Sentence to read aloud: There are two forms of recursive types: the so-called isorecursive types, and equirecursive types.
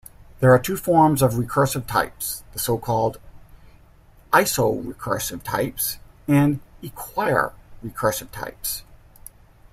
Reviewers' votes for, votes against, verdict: 0, 2, rejected